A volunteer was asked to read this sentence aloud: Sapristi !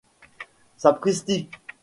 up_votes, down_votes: 2, 0